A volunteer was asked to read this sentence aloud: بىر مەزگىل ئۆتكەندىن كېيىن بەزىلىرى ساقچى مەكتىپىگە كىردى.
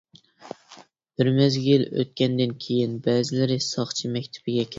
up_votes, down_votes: 0, 2